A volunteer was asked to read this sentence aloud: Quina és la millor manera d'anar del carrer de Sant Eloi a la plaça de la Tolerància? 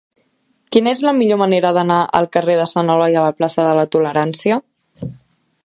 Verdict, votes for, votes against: accepted, 2, 1